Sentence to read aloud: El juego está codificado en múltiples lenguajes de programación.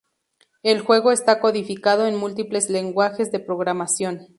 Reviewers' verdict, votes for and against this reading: accepted, 6, 0